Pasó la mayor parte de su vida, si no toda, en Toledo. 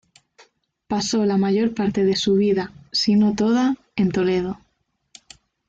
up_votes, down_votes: 2, 0